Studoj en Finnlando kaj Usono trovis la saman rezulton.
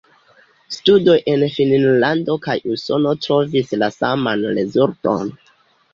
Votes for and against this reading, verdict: 0, 2, rejected